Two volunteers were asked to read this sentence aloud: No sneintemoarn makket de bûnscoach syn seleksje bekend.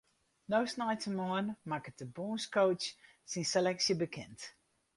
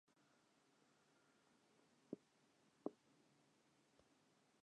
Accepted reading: first